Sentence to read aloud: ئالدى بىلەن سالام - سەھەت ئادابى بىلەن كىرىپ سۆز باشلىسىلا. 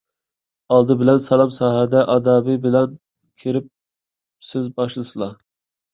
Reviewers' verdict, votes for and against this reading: rejected, 1, 2